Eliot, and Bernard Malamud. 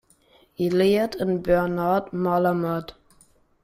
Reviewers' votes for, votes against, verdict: 0, 2, rejected